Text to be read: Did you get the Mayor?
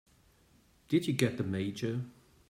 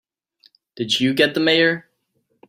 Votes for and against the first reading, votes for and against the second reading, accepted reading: 3, 4, 3, 0, second